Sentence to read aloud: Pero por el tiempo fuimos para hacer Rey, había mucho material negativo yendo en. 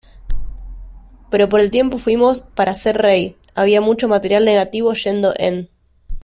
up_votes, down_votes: 2, 0